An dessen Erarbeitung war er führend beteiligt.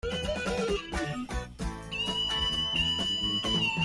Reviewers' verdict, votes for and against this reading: rejected, 0, 2